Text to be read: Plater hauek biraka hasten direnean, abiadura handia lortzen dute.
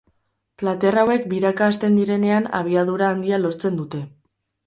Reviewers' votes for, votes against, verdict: 2, 2, rejected